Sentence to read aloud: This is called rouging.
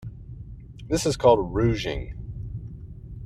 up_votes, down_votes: 2, 0